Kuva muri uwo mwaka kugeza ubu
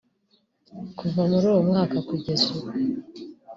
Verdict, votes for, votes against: accepted, 2, 0